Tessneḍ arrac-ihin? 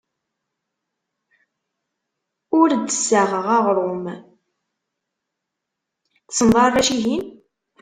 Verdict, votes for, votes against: rejected, 0, 2